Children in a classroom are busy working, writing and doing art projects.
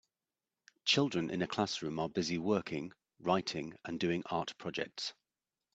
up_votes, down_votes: 2, 0